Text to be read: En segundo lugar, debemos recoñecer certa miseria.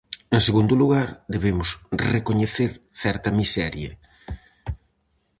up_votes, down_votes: 4, 0